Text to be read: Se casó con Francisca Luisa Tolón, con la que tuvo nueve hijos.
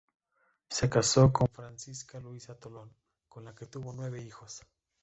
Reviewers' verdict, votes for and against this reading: rejected, 1, 2